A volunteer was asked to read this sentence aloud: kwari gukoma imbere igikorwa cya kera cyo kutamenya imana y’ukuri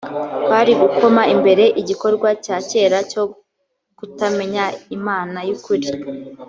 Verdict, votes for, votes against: accepted, 2, 0